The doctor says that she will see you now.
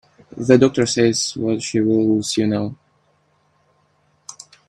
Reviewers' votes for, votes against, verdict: 1, 2, rejected